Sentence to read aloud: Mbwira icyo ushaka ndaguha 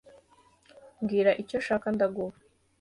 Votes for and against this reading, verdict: 2, 0, accepted